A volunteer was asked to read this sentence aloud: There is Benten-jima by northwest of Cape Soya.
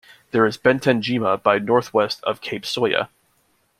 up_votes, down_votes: 2, 0